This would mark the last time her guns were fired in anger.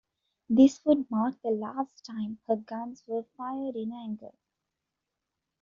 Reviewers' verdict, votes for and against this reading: rejected, 1, 2